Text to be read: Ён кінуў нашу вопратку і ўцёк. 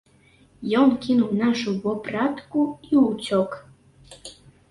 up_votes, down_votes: 0, 2